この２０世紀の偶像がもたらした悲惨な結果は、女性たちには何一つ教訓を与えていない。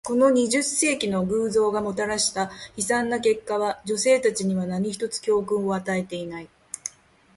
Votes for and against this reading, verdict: 0, 2, rejected